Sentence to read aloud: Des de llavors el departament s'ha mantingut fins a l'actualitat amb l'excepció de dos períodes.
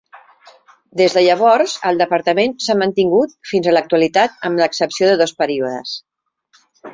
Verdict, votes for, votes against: accepted, 3, 0